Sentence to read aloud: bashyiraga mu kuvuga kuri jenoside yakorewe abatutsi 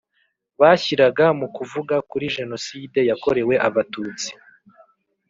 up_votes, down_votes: 3, 0